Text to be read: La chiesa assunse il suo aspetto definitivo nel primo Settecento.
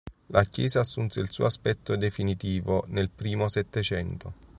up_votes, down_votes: 3, 0